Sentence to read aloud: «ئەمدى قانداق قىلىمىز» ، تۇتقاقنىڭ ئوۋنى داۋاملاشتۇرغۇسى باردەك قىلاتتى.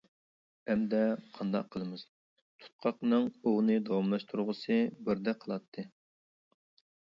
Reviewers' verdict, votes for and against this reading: rejected, 0, 2